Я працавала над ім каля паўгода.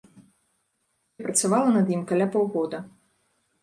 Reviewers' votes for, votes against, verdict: 0, 2, rejected